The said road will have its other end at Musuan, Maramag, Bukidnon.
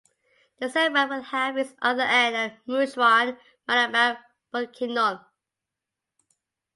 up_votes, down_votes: 0, 2